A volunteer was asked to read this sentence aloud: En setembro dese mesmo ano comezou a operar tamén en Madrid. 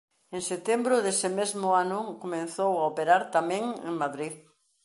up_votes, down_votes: 1, 2